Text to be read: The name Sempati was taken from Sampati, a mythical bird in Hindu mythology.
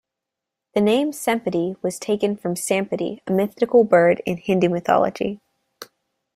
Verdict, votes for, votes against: rejected, 0, 2